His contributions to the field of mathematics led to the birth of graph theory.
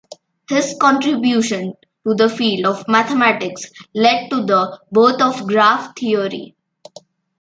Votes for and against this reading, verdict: 2, 1, accepted